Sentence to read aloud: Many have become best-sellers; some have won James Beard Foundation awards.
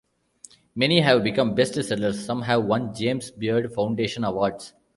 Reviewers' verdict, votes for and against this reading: rejected, 0, 2